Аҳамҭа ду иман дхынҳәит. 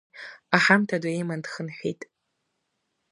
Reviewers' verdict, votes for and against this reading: accepted, 2, 0